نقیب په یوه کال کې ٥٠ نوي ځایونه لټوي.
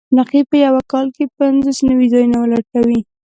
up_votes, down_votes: 0, 2